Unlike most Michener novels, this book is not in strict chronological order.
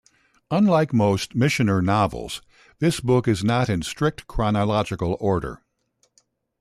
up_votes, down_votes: 2, 0